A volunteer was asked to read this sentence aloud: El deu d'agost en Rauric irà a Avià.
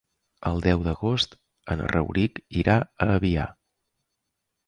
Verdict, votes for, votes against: accepted, 2, 0